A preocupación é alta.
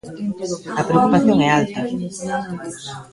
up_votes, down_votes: 0, 2